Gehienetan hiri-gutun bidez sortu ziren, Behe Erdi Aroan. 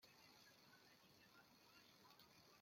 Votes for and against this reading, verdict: 0, 2, rejected